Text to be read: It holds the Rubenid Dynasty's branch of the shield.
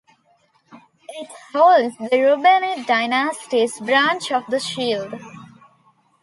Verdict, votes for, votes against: accepted, 2, 0